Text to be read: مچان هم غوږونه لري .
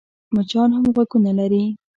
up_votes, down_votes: 2, 0